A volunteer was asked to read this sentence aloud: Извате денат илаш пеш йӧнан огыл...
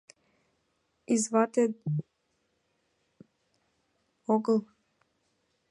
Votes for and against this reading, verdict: 0, 2, rejected